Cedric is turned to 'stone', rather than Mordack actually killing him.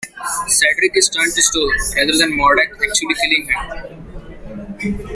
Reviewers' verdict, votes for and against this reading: rejected, 0, 2